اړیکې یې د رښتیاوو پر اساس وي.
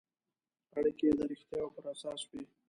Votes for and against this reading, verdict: 0, 2, rejected